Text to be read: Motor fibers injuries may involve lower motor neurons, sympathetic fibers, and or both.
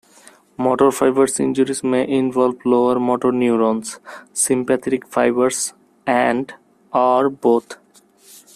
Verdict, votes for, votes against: rejected, 0, 2